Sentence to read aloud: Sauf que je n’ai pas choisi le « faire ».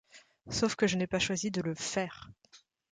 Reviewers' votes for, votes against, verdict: 1, 2, rejected